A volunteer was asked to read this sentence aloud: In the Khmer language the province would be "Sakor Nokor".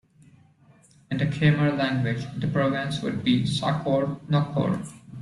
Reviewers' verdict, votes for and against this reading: rejected, 1, 2